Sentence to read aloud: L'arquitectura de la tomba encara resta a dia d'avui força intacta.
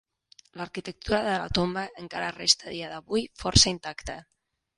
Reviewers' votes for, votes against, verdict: 0, 2, rejected